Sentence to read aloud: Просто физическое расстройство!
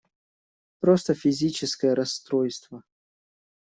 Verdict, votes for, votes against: accepted, 2, 0